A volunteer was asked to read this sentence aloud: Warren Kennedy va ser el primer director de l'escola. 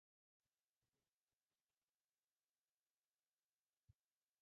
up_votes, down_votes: 0, 2